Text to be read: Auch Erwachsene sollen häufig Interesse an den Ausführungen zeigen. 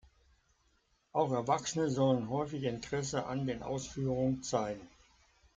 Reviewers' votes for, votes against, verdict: 2, 0, accepted